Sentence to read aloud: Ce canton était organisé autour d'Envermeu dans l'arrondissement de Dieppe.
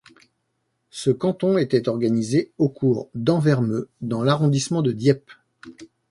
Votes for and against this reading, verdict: 1, 2, rejected